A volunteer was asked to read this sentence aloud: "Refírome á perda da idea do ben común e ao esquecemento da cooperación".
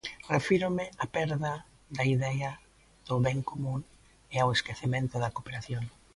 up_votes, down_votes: 2, 1